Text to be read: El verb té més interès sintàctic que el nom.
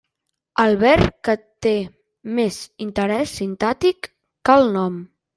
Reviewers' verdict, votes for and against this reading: rejected, 0, 2